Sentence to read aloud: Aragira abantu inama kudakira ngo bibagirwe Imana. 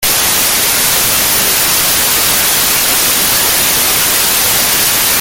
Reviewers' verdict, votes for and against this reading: rejected, 0, 2